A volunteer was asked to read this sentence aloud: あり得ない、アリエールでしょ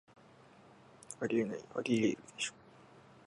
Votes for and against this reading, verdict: 2, 0, accepted